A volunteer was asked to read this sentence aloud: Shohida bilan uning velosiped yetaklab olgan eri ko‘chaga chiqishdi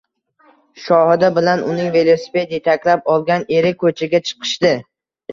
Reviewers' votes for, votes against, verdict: 2, 0, accepted